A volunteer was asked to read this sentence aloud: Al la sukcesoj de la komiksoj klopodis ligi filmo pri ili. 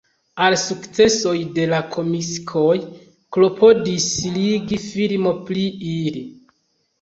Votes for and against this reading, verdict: 1, 2, rejected